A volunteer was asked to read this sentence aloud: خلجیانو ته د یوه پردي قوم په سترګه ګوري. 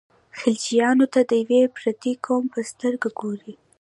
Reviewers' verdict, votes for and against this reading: accepted, 2, 0